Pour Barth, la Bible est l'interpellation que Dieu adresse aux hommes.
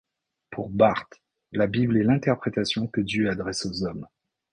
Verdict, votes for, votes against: rejected, 0, 2